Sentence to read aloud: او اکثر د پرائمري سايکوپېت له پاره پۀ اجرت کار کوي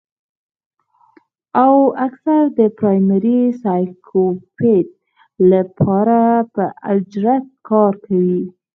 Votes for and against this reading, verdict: 2, 4, rejected